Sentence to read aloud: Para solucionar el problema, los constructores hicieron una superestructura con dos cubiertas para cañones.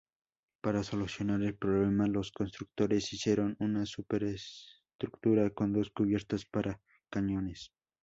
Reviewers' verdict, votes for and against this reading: accepted, 2, 0